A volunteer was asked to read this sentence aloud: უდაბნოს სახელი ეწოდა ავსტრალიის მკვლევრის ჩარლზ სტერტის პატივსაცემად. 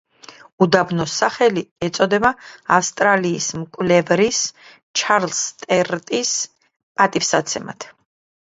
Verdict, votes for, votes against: rejected, 1, 2